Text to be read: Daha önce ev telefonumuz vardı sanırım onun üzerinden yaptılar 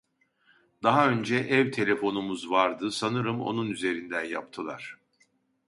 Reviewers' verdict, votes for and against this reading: accepted, 2, 0